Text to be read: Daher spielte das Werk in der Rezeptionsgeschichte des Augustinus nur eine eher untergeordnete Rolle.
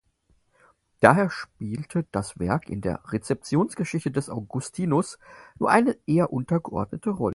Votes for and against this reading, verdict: 4, 0, accepted